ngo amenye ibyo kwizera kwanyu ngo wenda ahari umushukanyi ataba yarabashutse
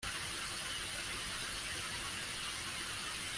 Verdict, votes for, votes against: rejected, 1, 2